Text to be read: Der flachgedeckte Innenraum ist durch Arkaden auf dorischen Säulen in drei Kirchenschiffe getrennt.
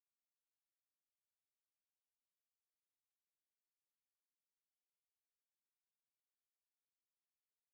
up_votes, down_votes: 0, 2